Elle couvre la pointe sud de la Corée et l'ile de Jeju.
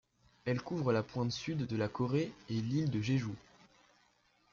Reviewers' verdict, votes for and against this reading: accepted, 2, 0